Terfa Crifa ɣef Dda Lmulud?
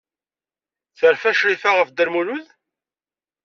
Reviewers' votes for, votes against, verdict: 2, 0, accepted